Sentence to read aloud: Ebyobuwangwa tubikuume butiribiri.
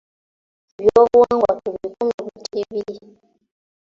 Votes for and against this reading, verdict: 0, 2, rejected